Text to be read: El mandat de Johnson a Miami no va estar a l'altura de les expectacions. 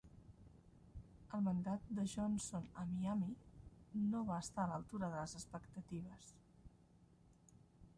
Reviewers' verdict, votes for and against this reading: rejected, 0, 2